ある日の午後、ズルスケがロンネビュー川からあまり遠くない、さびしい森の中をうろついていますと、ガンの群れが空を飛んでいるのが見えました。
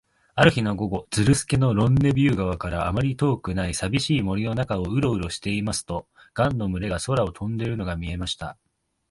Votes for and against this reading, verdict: 1, 2, rejected